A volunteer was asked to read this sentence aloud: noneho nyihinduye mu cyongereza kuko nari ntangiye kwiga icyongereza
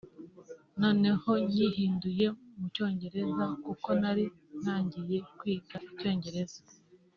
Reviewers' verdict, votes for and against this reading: accepted, 2, 0